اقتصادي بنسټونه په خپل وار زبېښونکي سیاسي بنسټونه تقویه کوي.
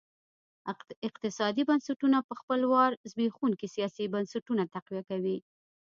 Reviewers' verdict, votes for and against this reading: rejected, 1, 2